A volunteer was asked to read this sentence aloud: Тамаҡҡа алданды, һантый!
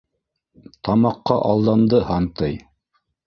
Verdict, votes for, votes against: accepted, 2, 0